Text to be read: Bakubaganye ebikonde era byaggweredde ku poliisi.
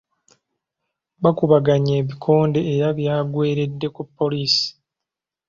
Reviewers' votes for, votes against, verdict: 1, 2, rejected